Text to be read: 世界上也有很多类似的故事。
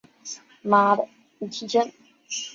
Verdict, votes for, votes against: rejected, 0, 3